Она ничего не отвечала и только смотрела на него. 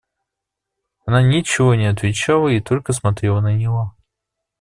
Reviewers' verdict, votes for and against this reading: accepted, 2, 0